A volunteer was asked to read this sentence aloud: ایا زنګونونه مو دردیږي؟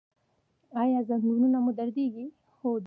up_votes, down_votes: 2, 0